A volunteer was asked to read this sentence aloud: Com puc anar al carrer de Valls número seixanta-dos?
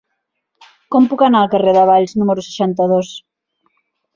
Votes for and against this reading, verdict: 3, 0, accepted